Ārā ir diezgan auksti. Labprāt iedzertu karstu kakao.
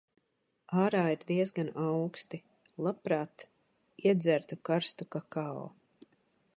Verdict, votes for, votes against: accepted, 2, 0